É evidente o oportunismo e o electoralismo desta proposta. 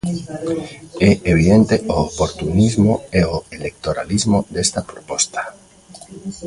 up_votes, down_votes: 0, 2